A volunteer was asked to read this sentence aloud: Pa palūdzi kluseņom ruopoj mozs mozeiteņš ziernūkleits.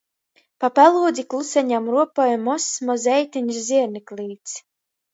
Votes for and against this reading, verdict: 0, 2, rejected